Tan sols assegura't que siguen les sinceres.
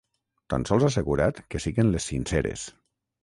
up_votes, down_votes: 3, 6